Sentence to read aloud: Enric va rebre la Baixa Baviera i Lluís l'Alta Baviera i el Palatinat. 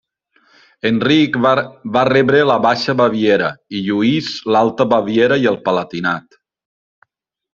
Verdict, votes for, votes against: rejected, 1, 2